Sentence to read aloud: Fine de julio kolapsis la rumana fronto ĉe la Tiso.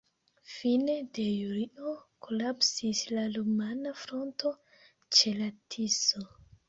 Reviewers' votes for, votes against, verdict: 0, 2, rejected